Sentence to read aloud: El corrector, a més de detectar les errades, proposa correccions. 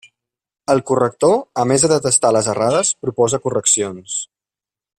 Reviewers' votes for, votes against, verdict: 0, 2, rejected